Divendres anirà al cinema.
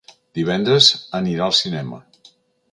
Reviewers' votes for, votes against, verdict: 2, 0, accepted